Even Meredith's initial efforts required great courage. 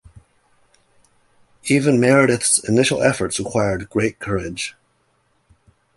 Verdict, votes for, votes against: accepted, 2, 0